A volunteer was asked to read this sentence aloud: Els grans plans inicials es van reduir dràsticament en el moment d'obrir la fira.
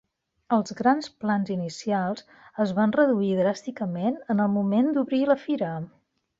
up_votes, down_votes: 3, 0